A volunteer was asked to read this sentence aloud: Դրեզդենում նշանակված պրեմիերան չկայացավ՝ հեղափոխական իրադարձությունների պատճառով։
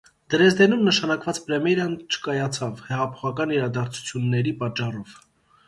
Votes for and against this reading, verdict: 0, 2, rejected